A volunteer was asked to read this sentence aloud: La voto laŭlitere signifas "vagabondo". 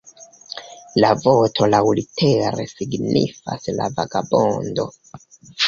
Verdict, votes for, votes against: rejected, 0, 2